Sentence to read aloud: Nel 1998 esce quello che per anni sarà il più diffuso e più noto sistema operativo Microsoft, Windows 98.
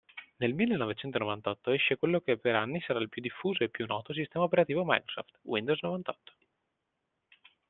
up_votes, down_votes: 0, 2